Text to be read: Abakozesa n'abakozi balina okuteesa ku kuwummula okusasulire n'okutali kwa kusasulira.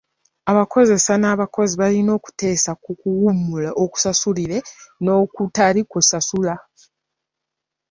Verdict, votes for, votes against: rejected, 1, 2